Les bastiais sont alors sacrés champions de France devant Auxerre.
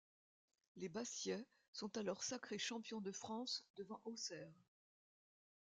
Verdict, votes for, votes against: rejected, 0, 2